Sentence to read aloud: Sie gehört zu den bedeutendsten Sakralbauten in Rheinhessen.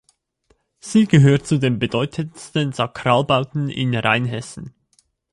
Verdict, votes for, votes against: accepted, 2, 0